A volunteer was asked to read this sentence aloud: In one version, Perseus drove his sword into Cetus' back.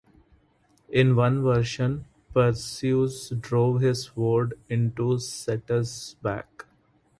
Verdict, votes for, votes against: rejected, 0, 2